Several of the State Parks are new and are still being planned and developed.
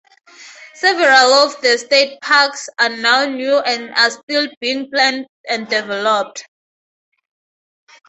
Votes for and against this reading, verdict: 0, 2, rejected